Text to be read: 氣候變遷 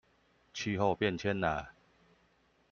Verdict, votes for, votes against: rejected, 1, 2